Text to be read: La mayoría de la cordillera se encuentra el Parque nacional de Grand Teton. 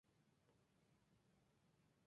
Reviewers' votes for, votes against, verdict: 0, 2, rejected